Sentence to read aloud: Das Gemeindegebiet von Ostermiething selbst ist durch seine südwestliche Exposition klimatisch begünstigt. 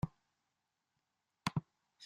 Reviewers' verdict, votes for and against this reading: rejected, 0, 2